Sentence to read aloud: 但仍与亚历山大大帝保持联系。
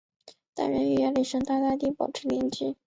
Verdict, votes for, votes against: rejected, 1, 2